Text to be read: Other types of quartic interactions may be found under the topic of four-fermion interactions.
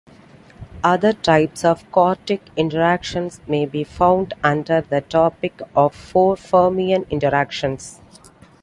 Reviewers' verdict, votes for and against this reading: accepted, 2, 0